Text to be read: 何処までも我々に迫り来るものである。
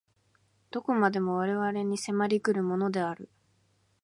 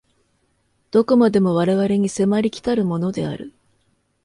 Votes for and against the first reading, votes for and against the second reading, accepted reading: 2, 0, 1, 2, first